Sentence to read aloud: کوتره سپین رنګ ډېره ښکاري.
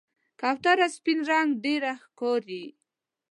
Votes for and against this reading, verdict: 2, 0, accepted